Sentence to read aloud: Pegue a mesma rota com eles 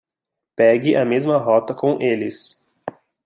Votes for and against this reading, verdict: 2, 0, accepted